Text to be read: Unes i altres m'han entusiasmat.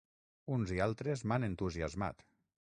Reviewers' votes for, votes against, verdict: 0, 6, rejected